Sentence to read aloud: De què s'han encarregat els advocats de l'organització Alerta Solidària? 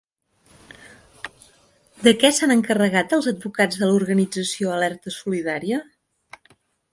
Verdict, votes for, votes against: accepted, 6, 0